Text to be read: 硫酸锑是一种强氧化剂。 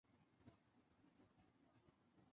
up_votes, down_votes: 0, 2